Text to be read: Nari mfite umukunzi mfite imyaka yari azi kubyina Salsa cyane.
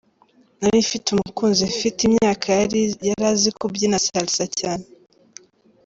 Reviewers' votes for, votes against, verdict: 2, 1, accepted